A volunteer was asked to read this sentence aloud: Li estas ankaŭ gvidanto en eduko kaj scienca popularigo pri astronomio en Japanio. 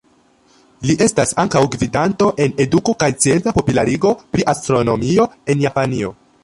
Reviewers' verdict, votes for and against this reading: rejected, 1, 2